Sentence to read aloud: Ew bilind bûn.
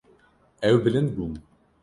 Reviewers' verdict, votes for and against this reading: rejected, 1, 2